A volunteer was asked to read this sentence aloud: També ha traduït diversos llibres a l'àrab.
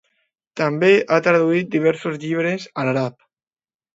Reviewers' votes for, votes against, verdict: 0, 2, rejected